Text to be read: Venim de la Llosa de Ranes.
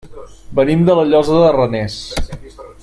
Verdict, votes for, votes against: rejected, 1, 3